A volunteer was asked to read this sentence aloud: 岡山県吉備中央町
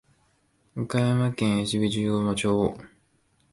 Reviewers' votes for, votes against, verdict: 1, 2, rejected